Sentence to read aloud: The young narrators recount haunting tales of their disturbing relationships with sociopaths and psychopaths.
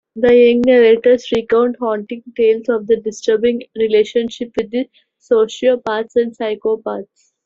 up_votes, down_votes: 0, 2